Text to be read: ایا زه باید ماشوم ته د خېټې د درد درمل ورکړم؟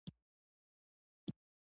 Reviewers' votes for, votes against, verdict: 1, 2, rejected